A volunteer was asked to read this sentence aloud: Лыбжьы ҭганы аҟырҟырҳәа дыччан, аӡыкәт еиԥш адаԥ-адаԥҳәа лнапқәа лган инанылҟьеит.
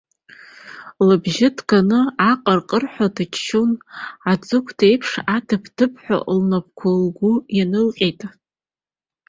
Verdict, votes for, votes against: accepted, 2, 1